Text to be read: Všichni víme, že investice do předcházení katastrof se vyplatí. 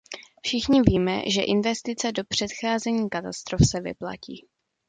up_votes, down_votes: 2, 0